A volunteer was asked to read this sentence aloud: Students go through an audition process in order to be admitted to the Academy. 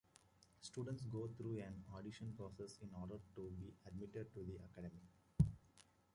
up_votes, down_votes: 1, 2